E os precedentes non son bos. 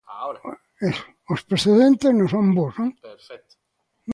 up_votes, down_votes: 0, 2